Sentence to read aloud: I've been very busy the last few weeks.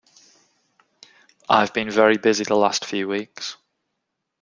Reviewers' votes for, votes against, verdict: 2, 0, accepted